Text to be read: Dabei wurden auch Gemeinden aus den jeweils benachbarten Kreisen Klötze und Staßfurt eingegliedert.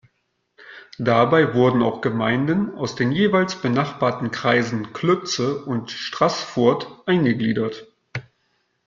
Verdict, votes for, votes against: rejected, 1, 2